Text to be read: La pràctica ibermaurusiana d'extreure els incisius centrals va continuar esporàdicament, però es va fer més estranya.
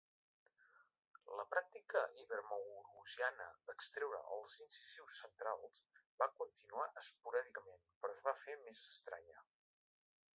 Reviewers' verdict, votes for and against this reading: accepted, 2, 1